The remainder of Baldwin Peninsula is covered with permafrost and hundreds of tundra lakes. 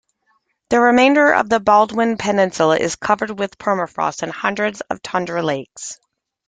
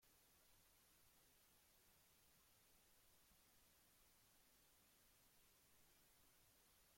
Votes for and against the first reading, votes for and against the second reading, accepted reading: 2, 1, 0, 2, first